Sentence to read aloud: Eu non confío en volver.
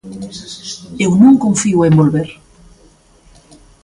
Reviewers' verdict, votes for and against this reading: accepted, 2, 0